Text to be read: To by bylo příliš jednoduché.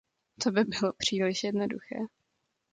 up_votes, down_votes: 2, 0